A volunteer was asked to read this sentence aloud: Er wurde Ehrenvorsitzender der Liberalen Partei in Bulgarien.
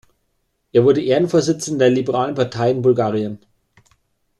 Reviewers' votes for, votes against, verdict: 2, 0, accepted